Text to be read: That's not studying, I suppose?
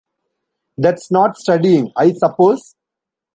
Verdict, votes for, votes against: accepted, 2, 0